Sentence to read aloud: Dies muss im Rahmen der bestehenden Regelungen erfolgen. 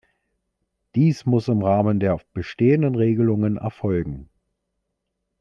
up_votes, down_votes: 1, 2